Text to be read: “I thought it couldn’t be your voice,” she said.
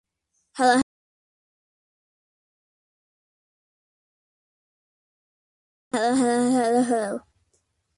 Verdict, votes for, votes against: rejected, 0, 2